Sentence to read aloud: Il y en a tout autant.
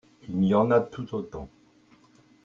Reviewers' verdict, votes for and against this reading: accepted, 2, 0